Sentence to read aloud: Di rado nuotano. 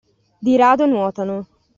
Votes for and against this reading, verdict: 2, 0, accepted